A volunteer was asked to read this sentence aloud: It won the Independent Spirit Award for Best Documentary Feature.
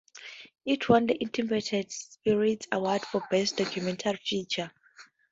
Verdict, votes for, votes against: accepted, 4, 0